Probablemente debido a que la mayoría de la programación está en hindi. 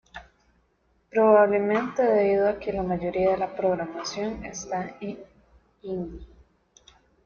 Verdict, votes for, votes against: rejected, 1, 2